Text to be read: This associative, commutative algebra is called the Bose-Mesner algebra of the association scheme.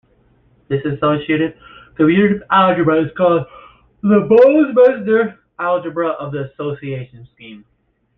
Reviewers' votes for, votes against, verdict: 0, 2, rejected